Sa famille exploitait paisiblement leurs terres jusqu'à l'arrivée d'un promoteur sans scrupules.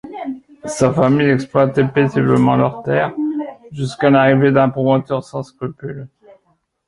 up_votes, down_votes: 2, 0